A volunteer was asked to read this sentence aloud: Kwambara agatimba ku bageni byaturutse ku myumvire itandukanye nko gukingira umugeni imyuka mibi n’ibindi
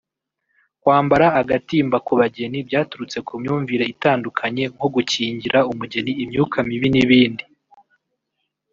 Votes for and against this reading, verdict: 1, 2, rejected